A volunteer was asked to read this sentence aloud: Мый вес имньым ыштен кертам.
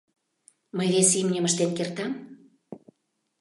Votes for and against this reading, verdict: 2, 0, accepted